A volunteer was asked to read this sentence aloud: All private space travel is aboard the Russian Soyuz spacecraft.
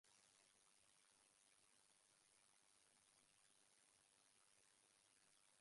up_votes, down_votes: 0, 2